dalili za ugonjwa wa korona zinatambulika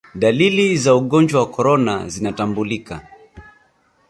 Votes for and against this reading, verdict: 6, 0, accepted